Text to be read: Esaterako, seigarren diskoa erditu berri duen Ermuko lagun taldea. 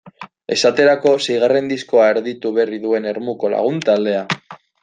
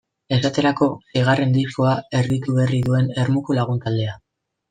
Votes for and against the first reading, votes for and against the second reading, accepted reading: 2, 0, 1, 2, first